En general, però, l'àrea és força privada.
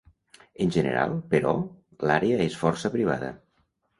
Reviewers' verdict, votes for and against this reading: accepted, 2, 0